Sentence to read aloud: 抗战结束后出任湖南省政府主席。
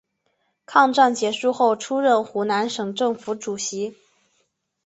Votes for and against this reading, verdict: 2, 0, accepted